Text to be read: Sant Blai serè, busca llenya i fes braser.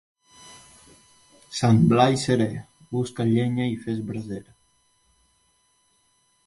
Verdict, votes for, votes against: accepted, 2, 0